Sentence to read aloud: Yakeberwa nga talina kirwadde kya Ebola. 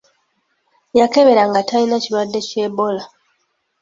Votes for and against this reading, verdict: 3, 1, accepted